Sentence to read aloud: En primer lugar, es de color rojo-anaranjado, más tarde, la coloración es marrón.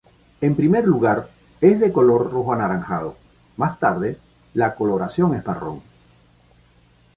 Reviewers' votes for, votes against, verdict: 2, 0, accepted